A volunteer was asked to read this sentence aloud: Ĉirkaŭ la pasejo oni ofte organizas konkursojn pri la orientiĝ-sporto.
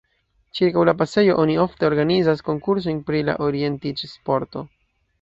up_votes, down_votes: 2, 0